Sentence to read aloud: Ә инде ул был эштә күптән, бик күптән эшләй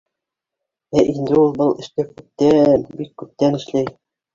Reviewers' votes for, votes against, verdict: 1, 2, rejected